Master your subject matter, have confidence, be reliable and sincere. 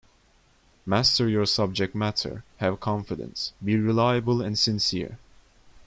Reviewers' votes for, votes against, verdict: 2, 0, accepted